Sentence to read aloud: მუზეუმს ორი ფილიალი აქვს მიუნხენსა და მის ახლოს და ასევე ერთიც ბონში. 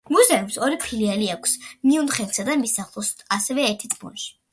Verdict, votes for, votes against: accepted, 2, 1